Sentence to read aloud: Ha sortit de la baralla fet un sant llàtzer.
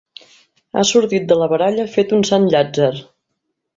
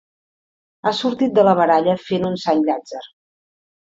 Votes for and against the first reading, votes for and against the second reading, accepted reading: 3, 0, 1, 3, first